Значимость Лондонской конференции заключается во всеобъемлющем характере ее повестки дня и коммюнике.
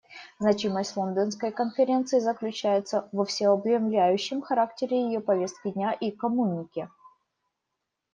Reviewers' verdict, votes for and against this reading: rejected, 0, 2